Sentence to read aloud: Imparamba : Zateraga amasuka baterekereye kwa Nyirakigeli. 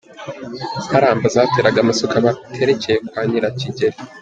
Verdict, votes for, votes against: accepted, 3, 0